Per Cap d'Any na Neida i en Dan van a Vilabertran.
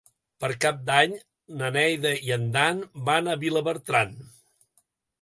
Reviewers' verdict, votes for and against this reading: accepted, 2, 0